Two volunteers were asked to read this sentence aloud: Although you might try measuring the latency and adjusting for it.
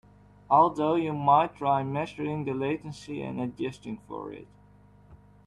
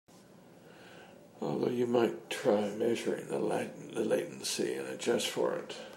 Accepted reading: first